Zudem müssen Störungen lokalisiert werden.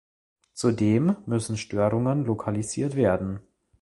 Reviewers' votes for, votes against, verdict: 2, 0, accepted